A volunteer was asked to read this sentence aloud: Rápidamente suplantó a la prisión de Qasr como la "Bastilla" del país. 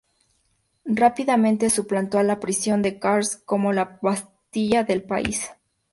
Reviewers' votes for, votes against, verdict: 2, 0, accepted